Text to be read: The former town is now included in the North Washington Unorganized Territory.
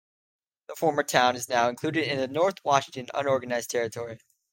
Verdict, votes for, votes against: accepted, 2, 0